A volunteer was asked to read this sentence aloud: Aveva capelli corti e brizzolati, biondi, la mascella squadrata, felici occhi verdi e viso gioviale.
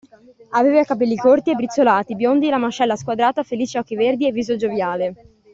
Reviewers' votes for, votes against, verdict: 2, 0, accepted